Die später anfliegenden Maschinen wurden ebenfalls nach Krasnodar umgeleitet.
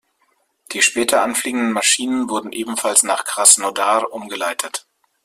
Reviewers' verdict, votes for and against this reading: accepted, 2, 0